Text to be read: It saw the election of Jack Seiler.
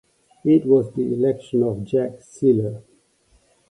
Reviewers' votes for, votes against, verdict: 0, 2, rejected